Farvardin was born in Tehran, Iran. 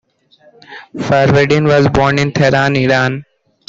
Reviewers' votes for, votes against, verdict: 2, 1, accepted